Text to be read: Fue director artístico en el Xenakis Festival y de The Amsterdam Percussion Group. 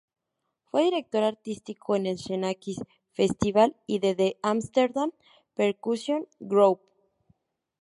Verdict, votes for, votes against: rejected, 2, 2